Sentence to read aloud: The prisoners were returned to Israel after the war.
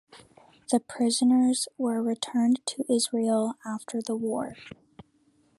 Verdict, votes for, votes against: accepted, 2, 0